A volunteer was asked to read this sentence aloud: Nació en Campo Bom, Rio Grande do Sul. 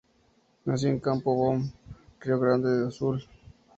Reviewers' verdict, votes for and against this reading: rejected, 0, 2